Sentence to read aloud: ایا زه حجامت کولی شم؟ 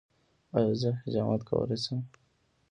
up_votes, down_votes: 0, 2